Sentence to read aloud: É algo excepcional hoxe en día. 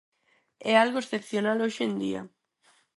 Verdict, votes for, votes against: accepted, 4, 0